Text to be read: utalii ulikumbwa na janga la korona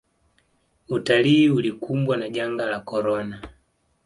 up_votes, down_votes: 2, 0